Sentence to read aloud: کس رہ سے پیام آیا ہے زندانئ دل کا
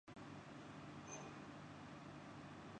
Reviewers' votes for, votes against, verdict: 0, 4, rejected